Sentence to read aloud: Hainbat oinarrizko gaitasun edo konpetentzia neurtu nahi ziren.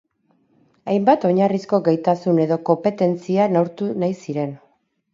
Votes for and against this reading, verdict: 6, 2, accepted